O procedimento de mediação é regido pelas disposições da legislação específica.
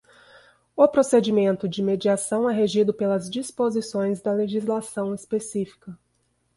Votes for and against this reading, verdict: 2, 0, accepted